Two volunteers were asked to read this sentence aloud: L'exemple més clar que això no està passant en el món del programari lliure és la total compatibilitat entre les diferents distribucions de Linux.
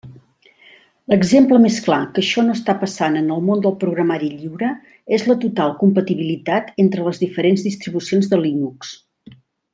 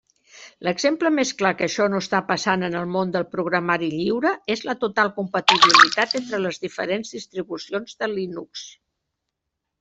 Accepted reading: first